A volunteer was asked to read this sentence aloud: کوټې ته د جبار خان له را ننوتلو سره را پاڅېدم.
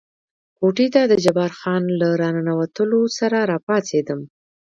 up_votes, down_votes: 1, 2